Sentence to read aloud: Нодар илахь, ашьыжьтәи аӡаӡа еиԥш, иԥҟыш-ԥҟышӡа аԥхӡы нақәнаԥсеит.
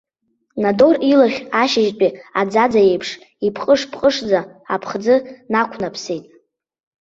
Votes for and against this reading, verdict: 0, 2, rejected